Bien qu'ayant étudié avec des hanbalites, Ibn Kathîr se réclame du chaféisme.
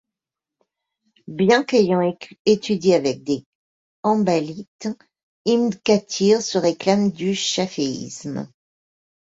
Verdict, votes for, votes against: accepted, 2, 0